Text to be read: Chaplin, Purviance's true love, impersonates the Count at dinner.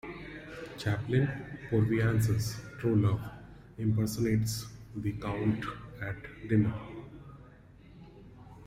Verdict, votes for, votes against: accepted, 2, 0